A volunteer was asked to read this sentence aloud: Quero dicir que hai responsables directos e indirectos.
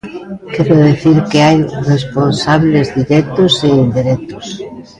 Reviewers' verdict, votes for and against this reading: rejected, 0, 2